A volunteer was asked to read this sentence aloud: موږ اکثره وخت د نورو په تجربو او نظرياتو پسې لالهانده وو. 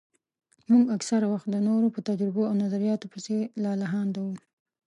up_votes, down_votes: 2, 0